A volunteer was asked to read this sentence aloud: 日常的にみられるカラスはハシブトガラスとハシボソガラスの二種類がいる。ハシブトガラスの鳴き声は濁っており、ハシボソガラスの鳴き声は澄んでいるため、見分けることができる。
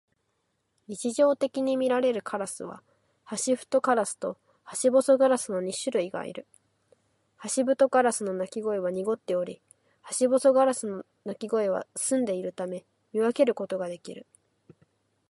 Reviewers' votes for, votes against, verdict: 4, 2, accepted